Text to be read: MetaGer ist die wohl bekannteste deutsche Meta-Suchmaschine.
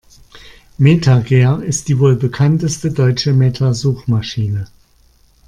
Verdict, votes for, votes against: accepted, 2, 0